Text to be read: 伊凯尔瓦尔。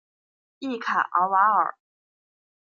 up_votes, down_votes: 1, 2